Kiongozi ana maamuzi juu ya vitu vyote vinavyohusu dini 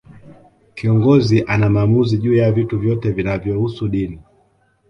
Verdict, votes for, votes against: accepted, 2, 0